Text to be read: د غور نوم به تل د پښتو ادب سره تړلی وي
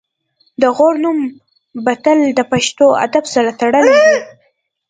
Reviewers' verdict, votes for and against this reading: accepted, 2, 0